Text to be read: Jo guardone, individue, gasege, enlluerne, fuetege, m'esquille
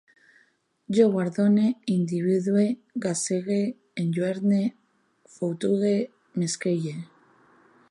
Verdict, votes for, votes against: rejected, 0, 2